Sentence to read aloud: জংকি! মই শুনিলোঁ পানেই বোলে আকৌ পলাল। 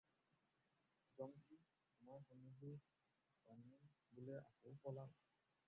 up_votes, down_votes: 0, 2